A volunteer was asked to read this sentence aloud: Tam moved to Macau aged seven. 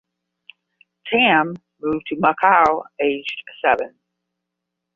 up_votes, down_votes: 10, 0